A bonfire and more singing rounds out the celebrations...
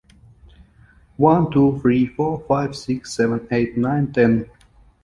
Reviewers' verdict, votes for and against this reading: rejected, 0, 2